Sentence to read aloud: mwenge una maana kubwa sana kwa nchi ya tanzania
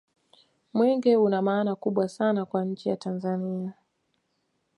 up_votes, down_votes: 2, 0